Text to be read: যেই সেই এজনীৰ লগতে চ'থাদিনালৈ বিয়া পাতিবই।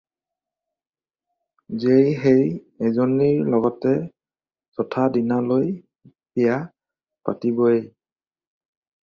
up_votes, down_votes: 2, 0